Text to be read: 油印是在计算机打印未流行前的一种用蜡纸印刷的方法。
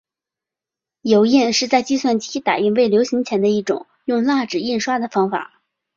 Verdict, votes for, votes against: accepted, 5, 0